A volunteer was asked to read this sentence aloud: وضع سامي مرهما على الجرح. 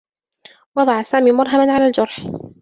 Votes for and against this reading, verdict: 2, 1, accepted